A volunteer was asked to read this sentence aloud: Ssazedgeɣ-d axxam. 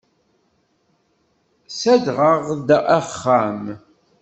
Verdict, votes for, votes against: rejected, 0, 2